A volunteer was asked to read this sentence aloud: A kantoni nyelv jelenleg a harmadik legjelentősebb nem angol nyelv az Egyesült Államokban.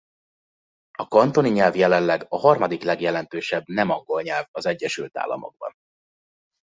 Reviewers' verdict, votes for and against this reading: accepted, 3, 0